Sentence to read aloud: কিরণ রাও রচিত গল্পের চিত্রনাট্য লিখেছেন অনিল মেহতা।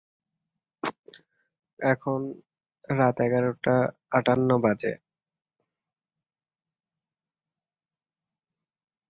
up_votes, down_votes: 0, 13